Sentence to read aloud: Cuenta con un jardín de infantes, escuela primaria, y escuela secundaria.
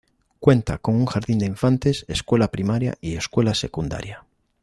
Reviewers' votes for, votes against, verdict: 2, 0, accepted